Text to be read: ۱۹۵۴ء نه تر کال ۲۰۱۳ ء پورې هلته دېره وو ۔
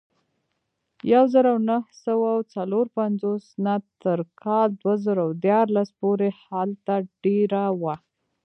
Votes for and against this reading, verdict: 0, 2, rejected